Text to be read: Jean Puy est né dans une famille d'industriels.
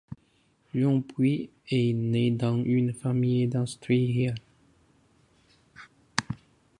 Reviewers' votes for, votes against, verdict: 1, 2, rejected